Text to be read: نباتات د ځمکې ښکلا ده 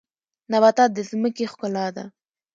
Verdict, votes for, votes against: accepted, 2, 0